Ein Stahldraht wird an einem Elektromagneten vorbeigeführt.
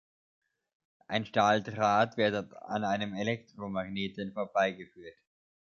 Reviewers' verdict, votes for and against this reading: rejected, 1, 2